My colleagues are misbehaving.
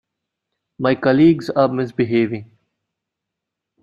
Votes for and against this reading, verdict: 2, 1, accepted